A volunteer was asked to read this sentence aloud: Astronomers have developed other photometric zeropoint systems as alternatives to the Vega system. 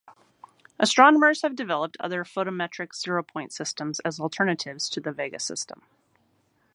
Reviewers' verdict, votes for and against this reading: accepted, 2, 0